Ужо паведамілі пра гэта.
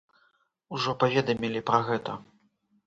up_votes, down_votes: 2, 0